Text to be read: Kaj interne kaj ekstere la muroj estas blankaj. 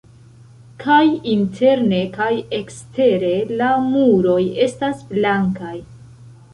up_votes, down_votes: 2, 1